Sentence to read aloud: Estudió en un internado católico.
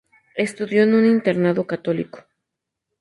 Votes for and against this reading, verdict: 2, 0, accepted